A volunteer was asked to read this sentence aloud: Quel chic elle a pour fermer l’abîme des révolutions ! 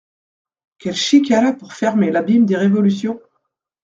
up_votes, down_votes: 2, 0